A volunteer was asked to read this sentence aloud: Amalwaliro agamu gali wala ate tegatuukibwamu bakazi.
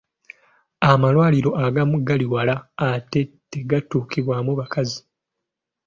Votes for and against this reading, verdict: 2, 0, accepted